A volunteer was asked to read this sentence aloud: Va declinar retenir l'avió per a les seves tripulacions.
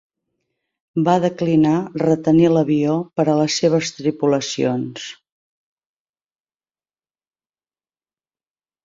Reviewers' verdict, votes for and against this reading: accepted, 5, 0